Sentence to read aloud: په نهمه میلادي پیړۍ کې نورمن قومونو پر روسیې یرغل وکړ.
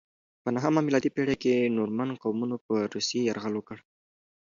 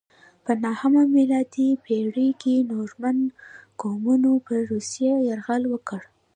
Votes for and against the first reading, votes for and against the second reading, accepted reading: 2, 0, 1, 2, first